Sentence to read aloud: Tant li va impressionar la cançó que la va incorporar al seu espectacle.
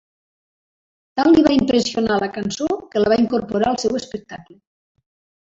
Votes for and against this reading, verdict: 1, 2, rejected